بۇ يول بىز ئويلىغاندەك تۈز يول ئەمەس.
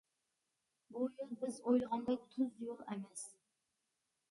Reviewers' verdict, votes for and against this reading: accepted, 2, 0